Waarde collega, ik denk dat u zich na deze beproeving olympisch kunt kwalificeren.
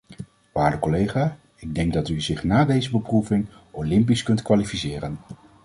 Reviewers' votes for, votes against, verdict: 2, 0, accepted